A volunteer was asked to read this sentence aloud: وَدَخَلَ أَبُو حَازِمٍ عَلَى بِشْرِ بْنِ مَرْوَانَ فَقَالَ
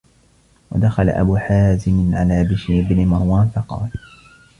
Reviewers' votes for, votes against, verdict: 2, 1, accepted